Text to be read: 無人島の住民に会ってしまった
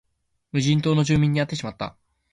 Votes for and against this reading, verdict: 3, 0, accepted